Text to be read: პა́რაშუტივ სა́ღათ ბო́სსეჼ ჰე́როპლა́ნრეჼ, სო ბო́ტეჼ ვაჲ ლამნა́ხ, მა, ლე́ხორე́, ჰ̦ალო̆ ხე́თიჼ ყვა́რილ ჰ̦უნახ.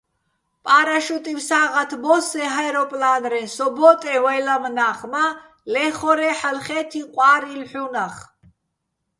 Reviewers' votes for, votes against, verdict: 2, 0, accepted